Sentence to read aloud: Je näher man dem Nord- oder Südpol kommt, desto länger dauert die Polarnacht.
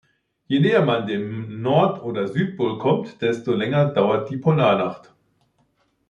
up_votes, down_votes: 2, 0